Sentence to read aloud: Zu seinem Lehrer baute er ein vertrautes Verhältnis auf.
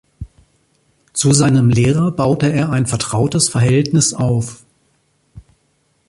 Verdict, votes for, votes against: accepted, 2, 0